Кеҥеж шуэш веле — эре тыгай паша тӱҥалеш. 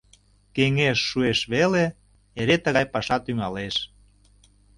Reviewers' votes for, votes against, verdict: 2, 0, accepted